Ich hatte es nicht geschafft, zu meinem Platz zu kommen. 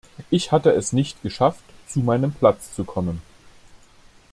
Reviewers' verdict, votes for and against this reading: accepted, 2, 0